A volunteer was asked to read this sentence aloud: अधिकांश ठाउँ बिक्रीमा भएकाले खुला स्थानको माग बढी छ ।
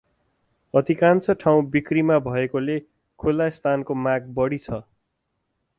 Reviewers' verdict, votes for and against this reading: accepted, 4, 0